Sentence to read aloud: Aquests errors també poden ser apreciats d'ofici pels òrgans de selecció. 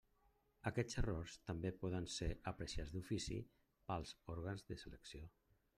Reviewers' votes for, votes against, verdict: 0, 2, rejected